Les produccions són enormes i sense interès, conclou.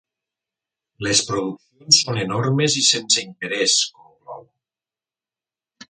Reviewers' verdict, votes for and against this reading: rejected, 1, 3